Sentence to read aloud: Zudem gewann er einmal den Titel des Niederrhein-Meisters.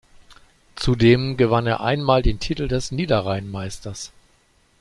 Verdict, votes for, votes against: accepted, 2, 0